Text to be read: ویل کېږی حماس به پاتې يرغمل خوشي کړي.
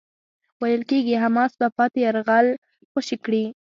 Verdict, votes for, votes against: accepted, 2, 0